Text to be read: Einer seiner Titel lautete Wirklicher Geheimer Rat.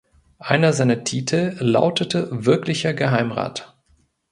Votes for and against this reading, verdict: 0, 3, rejected